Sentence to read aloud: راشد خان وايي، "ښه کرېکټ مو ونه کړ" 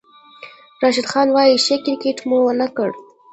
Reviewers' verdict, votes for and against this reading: rejected, 1, 2